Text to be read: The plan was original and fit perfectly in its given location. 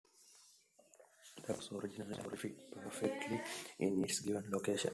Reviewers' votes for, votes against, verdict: 1, 2, rejected